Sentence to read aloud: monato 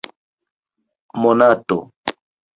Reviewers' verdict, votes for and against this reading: rejected, 1, 2